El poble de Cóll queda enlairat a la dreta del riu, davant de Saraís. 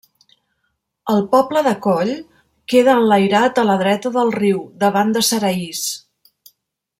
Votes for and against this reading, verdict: 2, 0, accepted